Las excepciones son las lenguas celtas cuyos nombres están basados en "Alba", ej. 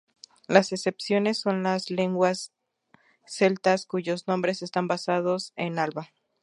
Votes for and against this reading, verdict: 0, 2, rejected